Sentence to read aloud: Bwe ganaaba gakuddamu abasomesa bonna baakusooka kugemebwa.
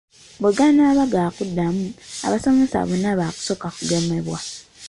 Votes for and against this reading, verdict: 2, 0, accepted